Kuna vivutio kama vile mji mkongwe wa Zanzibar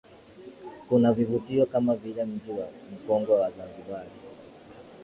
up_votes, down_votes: 2, 0